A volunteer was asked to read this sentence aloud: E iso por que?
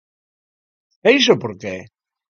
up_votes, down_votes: 2, 0